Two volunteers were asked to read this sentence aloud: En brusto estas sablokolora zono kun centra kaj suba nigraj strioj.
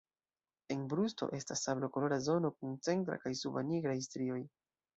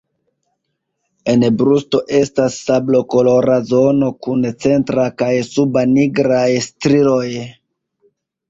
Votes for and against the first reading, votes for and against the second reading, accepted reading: 0, 2, 2, 1, second